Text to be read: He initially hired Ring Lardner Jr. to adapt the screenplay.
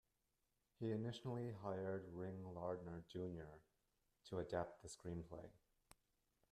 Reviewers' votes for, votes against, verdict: 0, 2, rejected